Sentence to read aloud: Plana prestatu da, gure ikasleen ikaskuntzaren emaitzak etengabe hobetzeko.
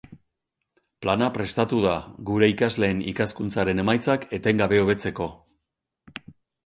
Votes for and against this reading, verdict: 4, 0, accepted